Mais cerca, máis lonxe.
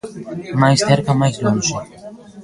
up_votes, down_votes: 3, 2